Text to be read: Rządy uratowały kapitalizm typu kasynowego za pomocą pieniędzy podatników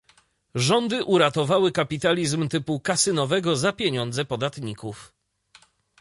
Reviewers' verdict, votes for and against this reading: rejected, 0, 2